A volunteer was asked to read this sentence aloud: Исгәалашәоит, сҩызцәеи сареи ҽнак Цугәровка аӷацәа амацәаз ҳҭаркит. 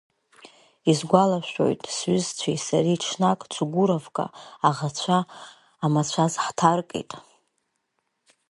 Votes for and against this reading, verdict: 1, 2, rejected